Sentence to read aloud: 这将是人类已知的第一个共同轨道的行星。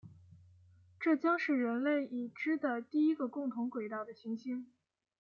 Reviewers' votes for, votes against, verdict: 2, 0, accepted